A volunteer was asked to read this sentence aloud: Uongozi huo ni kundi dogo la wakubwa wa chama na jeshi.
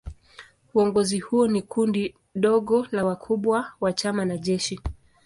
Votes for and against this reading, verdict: 2, 1, accepted